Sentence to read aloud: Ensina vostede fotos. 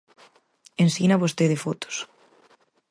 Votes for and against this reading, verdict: 4, 0, accepted